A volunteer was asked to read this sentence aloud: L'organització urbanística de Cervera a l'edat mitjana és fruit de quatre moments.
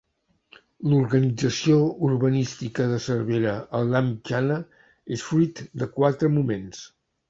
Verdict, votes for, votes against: accepted, 4, 0